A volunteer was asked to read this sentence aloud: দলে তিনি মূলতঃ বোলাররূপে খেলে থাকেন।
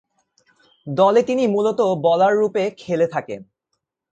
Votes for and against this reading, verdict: 2, 0, accepted